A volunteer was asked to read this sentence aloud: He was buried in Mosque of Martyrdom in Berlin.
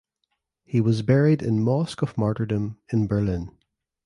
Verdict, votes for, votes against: accepted, 2, 0